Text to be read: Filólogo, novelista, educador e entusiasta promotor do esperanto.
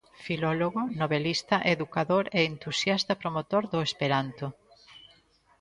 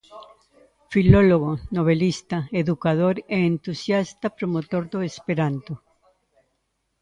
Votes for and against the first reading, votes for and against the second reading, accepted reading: 3, 0, 0, 2, first